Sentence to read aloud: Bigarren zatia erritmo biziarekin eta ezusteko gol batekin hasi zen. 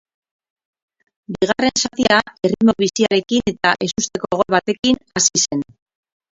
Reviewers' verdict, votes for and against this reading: rejected, 0, 2